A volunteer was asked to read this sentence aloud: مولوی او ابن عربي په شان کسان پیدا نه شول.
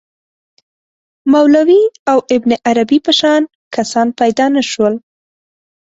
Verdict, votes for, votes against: accepted, 2, 0